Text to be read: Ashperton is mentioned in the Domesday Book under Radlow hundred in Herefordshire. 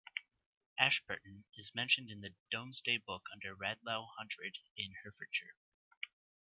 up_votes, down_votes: 2, 1